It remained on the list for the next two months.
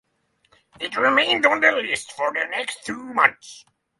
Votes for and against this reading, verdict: 3, 0, accepted